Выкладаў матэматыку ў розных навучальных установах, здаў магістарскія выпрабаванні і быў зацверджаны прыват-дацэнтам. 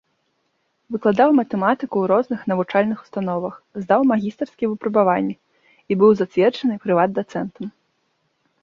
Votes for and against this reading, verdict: 2, 0, accepted